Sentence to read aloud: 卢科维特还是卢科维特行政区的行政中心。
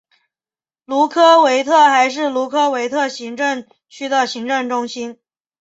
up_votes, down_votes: 6, 0